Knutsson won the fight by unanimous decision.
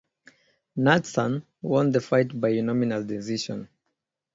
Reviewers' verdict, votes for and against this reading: rejected, 0, 2